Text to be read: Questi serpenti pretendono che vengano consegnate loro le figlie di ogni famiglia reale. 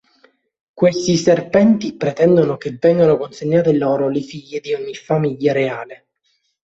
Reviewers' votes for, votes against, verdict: 3, 0, accepted